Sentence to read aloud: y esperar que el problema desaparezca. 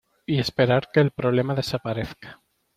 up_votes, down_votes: 2, 0